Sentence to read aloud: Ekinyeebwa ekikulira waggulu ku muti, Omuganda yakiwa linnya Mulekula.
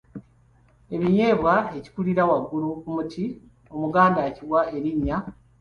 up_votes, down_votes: 0, 2